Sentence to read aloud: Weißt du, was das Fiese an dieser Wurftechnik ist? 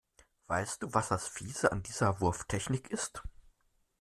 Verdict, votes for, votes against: accepted, 2, 0